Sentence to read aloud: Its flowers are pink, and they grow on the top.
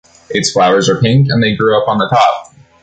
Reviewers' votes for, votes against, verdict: 1, 2, rejected